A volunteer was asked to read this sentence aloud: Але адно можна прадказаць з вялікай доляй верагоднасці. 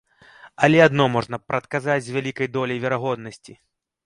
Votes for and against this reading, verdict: 2, 0, accepted